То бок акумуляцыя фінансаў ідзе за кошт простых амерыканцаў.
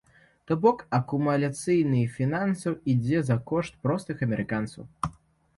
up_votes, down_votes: 1, 2